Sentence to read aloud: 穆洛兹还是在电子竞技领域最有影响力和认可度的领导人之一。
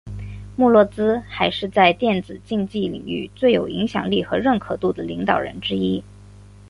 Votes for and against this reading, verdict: 9, 0, accepted